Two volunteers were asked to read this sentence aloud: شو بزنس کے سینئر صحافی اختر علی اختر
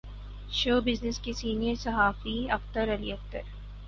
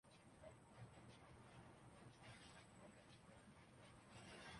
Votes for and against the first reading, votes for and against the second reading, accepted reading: 4, 0, 0, 2, first